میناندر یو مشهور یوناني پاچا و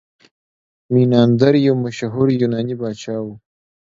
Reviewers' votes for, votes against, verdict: 2, 0, accepted